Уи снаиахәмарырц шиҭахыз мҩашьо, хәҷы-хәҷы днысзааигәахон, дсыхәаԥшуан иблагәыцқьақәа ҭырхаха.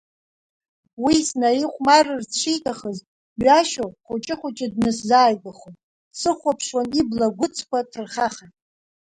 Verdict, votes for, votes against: rejected, 1, 2